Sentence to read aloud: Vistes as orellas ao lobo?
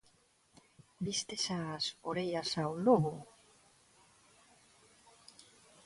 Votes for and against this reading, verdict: 2, 0, accepted